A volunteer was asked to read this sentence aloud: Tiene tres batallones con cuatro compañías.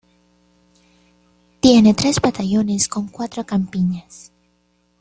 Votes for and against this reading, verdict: 0, 2, rejected